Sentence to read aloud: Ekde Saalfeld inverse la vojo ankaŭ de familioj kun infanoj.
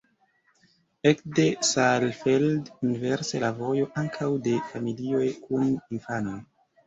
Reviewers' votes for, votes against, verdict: 2, 0, accepted